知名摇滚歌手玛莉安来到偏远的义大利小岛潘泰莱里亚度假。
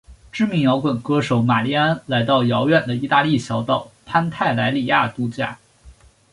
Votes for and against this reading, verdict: 2, 0, accepted